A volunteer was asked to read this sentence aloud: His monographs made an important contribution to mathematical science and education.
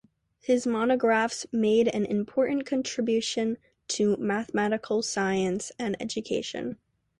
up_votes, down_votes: 2, 0